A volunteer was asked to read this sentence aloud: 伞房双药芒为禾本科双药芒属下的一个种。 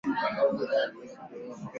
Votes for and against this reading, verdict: 3, 4, rejected